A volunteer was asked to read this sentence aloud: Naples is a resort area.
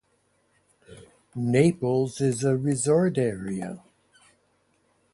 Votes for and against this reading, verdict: 0, 2, rejected